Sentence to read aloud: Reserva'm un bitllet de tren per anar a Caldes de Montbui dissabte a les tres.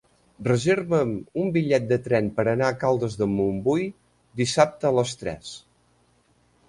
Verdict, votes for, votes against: accepted, 3, 0